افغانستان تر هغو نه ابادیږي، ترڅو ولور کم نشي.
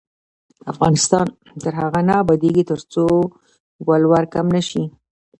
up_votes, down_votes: 2, 0